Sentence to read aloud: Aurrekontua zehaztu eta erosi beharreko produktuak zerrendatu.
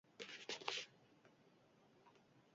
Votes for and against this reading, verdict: 0, 2, rejected